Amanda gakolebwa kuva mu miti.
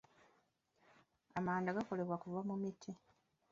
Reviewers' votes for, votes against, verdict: 2, 0, accepted